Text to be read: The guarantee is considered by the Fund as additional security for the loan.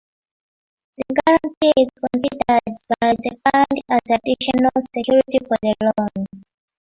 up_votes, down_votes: 1, 2